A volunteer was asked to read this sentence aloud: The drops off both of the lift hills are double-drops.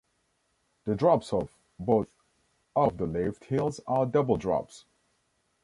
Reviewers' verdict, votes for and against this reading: accepted, 2, 0